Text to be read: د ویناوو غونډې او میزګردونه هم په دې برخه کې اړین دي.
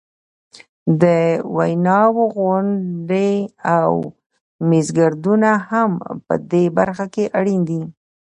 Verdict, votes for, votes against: accepted, 2, 1